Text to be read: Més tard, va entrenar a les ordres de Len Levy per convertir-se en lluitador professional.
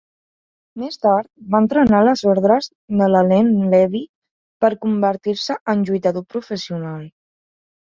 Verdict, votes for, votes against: accepted, 2, 0